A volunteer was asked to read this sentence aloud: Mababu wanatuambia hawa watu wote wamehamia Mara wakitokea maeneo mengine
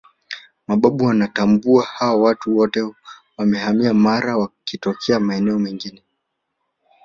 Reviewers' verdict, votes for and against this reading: accepted, 2, 0